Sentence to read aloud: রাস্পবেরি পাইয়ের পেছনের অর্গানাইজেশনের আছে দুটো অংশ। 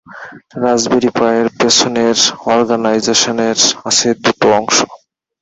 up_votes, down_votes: 0, 2